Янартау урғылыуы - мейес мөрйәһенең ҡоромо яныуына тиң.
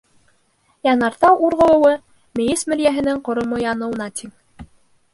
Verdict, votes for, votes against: rejected, 0, 2